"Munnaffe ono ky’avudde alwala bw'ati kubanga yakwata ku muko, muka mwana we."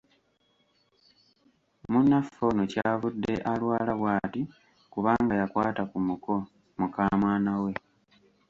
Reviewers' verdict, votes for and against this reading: rejected, 1, 2